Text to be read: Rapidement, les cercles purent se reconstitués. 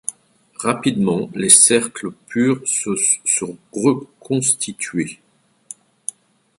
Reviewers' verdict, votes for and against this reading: rejected, 0, 2